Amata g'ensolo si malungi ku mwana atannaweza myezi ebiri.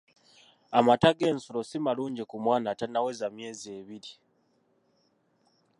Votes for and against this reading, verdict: 2, 1, accepted